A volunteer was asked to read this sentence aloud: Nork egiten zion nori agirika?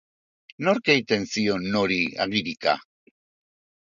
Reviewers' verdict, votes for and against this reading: accepted, 3, 0